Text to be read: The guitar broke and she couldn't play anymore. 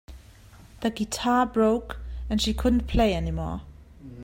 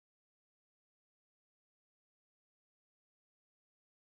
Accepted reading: first